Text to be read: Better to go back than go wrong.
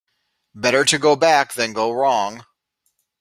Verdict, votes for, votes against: accepted, 2, 0